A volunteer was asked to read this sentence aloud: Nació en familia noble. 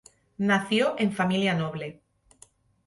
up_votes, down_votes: 0, 2